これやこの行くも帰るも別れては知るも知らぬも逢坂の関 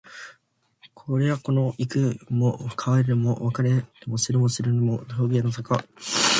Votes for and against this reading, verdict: 0, 2, rejected